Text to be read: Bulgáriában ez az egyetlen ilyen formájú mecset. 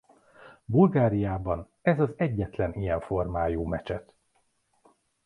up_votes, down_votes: 2, 0